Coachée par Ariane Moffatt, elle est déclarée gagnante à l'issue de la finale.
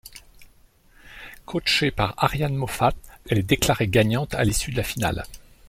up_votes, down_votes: 2, 0